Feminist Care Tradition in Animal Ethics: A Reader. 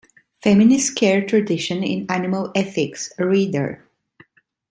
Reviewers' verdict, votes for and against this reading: rejected, 1, 2